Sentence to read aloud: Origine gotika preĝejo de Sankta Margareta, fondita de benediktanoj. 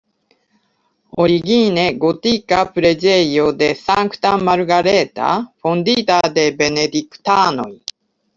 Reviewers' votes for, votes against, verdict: 2, 0, accepted